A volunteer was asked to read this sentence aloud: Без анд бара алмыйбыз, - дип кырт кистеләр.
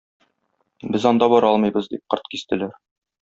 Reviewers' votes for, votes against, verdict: 1, 2, rejected